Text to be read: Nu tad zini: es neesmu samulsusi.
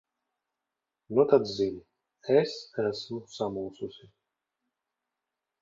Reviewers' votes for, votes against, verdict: 1, 2, rejected